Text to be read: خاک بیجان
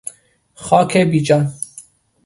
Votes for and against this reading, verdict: 2, 0, accepted